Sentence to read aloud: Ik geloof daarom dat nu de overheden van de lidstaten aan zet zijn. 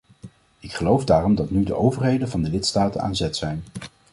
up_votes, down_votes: 2, 0